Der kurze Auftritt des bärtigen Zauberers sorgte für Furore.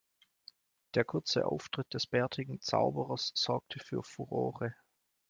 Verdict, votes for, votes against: accepted, 2, 0